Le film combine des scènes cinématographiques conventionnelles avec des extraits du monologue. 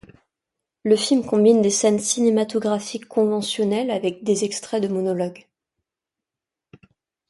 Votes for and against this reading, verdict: 0, 2, rejected